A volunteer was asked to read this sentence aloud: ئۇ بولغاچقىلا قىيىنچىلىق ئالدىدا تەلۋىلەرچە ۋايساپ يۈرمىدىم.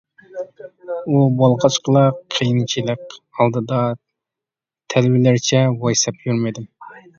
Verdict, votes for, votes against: rejected, 1, 2